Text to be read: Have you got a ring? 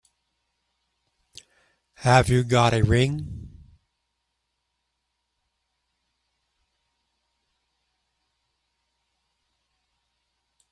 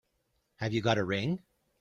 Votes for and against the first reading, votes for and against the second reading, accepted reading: 1, 2, 3, 0, second